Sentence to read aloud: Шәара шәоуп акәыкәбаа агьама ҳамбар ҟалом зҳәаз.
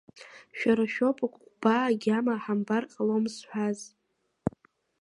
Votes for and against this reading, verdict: 2, 1, accepted